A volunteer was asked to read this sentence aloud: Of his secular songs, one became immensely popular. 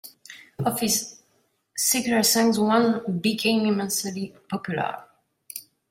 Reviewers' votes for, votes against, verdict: 2, 0, accepted